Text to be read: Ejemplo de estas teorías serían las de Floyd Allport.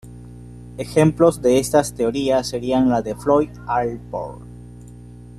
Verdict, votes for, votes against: accepted, 2, 1